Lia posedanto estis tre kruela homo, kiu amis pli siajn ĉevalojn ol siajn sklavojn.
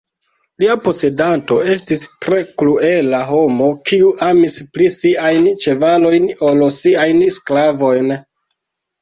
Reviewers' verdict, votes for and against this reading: rejected, 1, 2